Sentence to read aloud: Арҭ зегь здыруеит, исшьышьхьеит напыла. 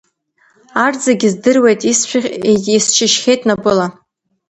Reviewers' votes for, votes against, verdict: 0, 2, rejected